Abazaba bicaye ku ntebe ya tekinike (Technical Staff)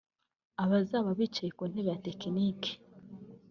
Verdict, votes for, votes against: rejected, 0, 2